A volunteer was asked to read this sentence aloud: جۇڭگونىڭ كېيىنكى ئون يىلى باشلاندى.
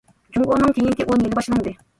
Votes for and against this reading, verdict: 1, 2, rejected